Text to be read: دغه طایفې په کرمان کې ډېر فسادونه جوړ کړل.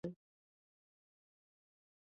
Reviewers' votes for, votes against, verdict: 0, 2, rejected